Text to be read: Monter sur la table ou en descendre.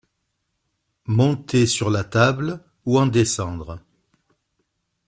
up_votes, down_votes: 2, 0